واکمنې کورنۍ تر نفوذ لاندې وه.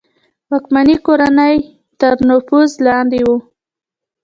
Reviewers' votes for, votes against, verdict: 1, 2, rejected